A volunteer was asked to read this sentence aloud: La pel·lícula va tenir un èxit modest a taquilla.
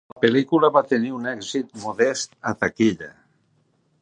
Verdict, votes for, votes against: rejected, 0, 2